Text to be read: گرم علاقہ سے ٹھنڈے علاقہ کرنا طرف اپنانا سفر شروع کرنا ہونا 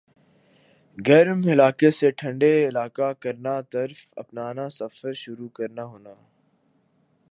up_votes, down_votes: 2, 1